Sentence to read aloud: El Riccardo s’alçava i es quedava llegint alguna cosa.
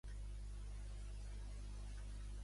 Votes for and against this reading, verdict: 0, 2, rejected